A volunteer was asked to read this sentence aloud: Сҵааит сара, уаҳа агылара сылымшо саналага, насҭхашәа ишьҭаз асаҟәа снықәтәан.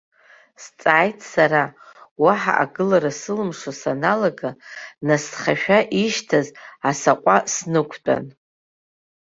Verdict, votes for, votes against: accepted, 2, 0